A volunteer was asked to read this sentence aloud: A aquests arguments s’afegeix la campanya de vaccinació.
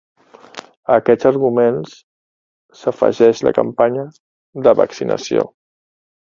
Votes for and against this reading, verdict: 2, 0, accepted